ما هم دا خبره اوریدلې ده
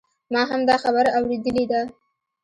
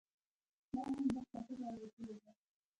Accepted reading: first